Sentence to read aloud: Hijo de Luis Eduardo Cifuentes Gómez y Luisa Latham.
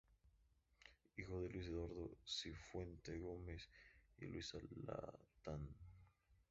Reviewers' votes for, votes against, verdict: 0, 2, rejected